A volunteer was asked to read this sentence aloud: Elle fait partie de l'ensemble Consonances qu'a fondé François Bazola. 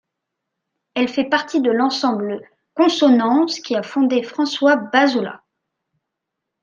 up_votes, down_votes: 1, 2